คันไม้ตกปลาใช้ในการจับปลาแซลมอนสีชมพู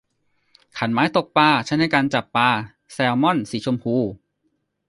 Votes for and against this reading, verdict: 2, 0, accepted